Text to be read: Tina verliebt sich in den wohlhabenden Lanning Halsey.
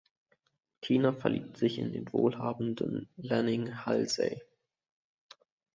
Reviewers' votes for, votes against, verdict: 2, 0, accepted